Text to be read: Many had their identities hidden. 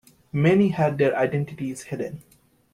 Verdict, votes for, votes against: accepted, 2, 0